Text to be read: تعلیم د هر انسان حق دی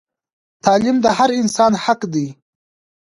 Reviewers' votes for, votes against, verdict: 2, 1, accepted